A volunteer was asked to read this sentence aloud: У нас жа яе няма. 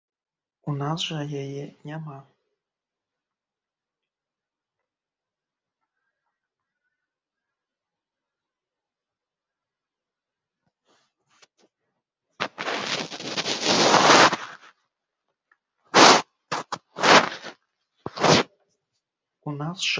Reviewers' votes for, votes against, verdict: 0, 2, rejected